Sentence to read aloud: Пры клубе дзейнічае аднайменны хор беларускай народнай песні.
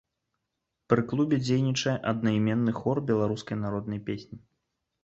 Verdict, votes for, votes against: accepted, 2, 0